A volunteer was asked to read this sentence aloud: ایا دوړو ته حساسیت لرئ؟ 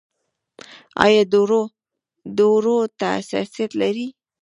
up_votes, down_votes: 1, 3